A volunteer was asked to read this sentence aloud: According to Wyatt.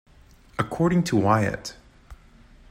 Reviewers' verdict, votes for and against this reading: accepted, 2, 0